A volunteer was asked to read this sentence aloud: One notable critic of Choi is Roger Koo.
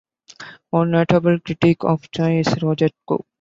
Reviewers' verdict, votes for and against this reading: accepted, 2, 1